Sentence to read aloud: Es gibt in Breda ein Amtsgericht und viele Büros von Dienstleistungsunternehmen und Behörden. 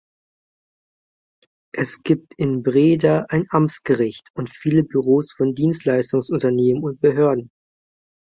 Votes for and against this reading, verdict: 2, 0, accepted